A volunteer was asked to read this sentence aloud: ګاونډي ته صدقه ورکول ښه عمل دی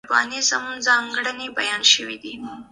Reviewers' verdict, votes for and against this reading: rejected, 0, 2